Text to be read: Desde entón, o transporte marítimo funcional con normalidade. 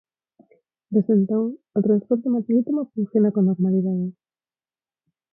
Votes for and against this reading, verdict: 0, 6, rejected